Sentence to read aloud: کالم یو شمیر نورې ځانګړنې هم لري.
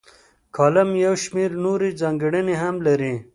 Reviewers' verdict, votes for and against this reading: accepted, 2, 0